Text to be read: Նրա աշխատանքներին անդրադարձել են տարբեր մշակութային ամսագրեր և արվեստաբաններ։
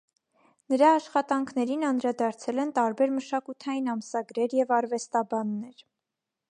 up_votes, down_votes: 2, 0